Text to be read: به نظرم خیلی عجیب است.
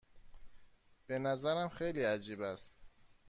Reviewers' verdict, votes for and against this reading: accepted, 2, 0